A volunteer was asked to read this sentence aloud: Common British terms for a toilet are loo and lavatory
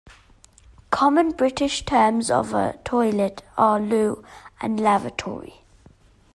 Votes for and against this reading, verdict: 0, 2, rejected